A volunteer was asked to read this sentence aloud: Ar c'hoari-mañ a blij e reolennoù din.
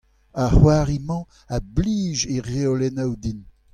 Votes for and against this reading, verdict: 2, 0, accepted